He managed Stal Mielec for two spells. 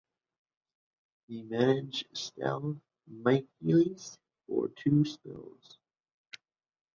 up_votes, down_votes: 0, 2